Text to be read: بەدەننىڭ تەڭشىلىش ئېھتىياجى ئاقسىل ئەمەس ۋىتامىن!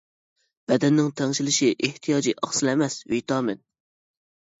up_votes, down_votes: 1, 2